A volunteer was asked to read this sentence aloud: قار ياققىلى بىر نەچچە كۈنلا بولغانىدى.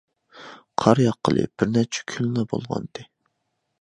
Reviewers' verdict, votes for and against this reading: accepted, 2, 1